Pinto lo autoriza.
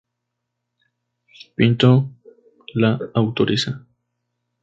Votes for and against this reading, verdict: 2, 2, rejected